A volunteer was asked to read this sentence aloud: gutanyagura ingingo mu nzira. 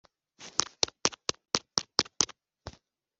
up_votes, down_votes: 0, 3